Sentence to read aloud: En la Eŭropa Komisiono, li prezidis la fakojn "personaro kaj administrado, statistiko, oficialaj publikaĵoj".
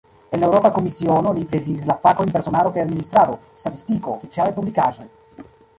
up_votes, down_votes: 1, 2